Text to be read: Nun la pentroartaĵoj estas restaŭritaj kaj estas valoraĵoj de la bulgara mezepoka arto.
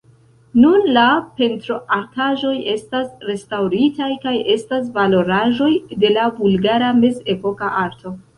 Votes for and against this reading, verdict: 1, 2, rejected